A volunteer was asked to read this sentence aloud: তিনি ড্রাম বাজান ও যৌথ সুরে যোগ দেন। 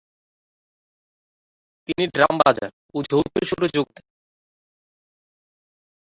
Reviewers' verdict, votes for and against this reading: rejected, 0, 3